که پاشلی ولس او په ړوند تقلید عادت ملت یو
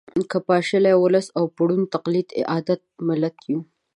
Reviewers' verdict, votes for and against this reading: accepted, 2, 0